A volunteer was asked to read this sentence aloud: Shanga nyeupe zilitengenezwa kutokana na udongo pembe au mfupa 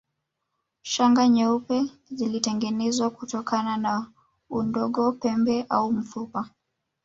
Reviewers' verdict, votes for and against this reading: rejected, 1, 2